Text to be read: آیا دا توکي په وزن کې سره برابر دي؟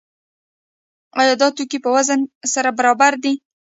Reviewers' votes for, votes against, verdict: 0, 2, rejected